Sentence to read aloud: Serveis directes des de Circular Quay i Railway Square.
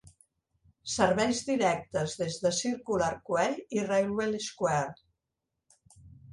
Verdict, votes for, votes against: accepted, 2, 0